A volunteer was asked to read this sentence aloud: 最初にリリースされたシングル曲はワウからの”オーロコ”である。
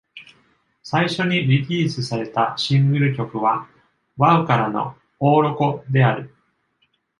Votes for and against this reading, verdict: 2, 0, accepted